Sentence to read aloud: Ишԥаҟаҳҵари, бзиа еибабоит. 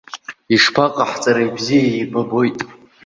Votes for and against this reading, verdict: 2, 0, accepted